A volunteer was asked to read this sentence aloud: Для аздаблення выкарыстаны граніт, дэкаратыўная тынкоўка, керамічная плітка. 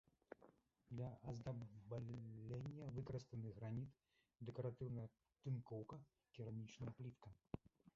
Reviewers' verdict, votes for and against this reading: rejected, 0, 2